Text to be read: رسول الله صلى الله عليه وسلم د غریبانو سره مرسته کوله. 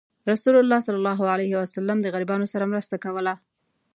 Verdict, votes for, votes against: accepted, 2, 0